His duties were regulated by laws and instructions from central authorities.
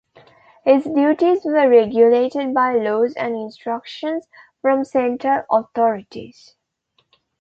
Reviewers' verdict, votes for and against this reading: accepted, 2, 1